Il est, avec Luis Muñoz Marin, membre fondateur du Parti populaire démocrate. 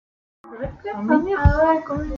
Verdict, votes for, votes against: rejected, 0, 2